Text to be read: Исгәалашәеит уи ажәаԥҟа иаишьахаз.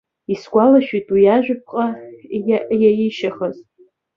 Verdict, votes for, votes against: rejected, 0, 3